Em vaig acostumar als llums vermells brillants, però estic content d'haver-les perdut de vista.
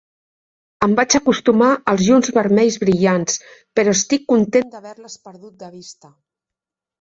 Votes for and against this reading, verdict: 3, 0, accepted